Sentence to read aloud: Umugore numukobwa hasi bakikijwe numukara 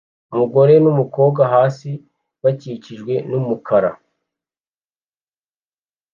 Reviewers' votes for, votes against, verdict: 2, 0, accepted